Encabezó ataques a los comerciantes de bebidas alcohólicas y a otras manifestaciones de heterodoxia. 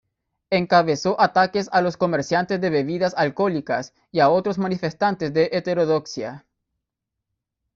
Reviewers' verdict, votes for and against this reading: rejected, 1, 2